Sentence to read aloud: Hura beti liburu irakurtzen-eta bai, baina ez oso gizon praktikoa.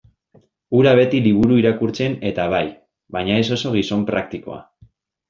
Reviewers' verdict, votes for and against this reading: accepted, 2, 0